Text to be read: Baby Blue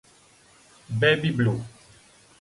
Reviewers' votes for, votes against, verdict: 6, 0, accepted